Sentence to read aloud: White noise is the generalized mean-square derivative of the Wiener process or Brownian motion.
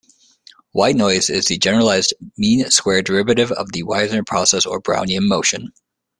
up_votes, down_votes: 1, 2